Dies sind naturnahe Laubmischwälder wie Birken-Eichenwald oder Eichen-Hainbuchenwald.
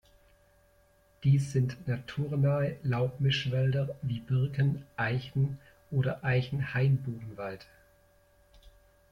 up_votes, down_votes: 0, 2